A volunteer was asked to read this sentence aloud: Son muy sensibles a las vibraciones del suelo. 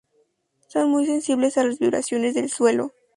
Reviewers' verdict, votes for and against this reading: accepted, 2, 0